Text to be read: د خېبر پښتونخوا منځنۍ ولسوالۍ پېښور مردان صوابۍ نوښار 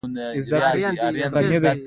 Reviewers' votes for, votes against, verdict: 2, 1, accepted